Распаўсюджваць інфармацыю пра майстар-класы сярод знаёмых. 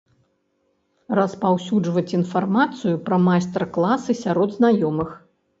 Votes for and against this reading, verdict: 2, 0, accepted